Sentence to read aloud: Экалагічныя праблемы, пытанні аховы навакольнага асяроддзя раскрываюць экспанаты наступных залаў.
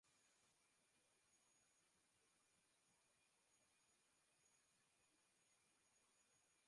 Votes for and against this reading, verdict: 0, 3, rejected